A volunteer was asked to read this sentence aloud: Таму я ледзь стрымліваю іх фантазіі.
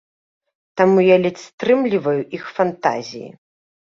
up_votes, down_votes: 2, 0